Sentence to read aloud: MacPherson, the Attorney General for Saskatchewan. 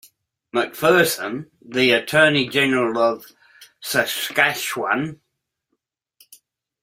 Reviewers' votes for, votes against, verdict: 1, 2, rejected